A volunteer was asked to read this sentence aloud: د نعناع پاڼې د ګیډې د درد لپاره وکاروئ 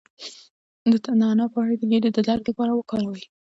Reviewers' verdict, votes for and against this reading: accepted, 2, 0